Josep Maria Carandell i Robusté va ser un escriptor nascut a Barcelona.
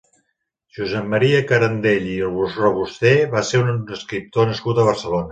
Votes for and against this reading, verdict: 0, 4, rejected